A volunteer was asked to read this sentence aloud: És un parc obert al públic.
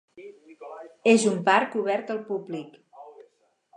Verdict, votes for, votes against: rejected, 0, 4